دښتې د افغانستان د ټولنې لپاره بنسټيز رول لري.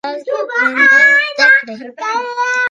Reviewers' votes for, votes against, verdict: 1, 2, rejected